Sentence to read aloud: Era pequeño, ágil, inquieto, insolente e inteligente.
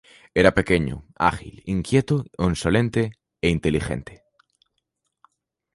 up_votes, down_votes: 0, 2